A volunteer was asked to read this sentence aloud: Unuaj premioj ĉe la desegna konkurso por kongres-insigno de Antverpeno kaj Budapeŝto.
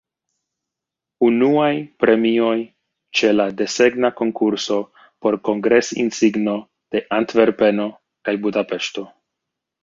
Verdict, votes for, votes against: rejected, 1, 2